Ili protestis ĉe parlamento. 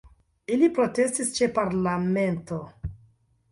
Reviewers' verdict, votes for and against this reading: rejected, 1, 2